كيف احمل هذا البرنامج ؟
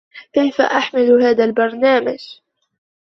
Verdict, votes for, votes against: rejected, 1, 2